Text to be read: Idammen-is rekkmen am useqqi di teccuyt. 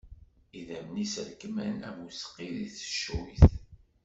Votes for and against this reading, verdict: 2, 1, accepted